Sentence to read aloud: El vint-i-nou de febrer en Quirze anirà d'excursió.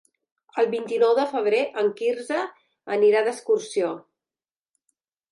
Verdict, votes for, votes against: accepted, 3, 0